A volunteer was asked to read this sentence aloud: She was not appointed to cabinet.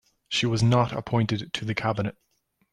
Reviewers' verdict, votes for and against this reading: rejected, 1, 2